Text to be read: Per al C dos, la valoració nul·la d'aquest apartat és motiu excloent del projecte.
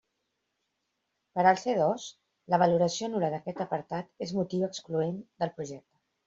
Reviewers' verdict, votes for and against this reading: rejected, 1, 2